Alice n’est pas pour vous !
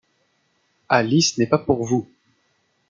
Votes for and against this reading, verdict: 2, 0, accepted